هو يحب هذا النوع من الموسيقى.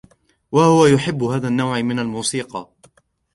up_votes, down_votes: 1, 2